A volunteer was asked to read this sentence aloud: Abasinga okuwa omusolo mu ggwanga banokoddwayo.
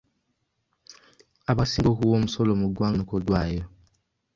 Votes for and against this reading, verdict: 1, 2, rejected